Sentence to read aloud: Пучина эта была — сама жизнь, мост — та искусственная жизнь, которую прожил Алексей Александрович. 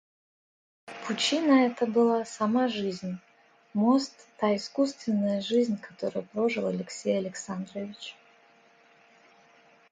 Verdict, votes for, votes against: accepted, 2, 0